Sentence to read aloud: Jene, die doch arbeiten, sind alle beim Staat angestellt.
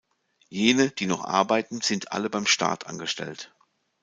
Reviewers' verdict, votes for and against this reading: rejected, 1, 2